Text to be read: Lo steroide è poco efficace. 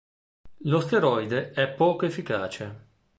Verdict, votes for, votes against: accepted, 2, 0